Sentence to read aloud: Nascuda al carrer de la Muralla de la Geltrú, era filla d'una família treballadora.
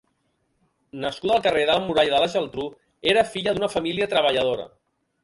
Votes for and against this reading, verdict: 0, 2, rejected